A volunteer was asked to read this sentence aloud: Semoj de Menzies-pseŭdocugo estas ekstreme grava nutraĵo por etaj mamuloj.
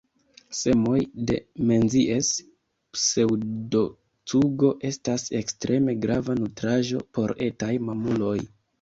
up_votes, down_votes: 1, 2